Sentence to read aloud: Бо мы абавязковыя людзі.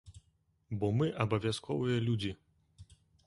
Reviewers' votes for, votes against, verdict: 2, 0, accepted